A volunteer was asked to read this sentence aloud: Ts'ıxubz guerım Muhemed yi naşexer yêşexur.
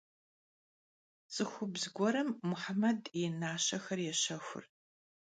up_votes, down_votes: 0, 2